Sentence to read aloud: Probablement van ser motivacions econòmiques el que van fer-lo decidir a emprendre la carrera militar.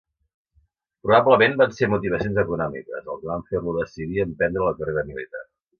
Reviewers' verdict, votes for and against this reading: rejected, 1, 2